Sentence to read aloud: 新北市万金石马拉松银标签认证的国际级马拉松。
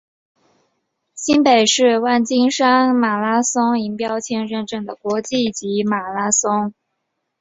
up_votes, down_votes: 4, 1